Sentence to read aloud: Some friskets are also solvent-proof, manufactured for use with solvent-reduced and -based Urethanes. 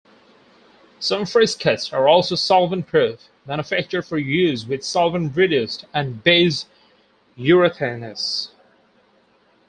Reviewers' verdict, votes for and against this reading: accepted, 4, 2